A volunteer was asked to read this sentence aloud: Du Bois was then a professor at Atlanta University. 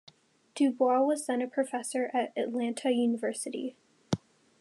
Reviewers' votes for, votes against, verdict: 2, 0, accepted